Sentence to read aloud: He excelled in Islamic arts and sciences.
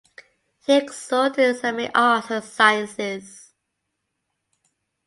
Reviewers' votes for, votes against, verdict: 0, 2, rejected